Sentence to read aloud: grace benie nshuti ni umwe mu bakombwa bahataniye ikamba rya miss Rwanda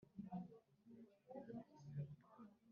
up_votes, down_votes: 1, 3